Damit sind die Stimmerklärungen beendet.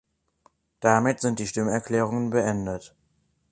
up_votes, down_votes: 3, 0